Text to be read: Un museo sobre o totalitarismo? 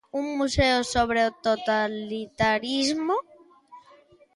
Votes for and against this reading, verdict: 2, 0, accepted